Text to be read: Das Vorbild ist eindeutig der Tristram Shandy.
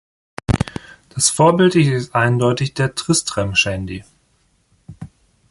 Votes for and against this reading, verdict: 0, 2, rejected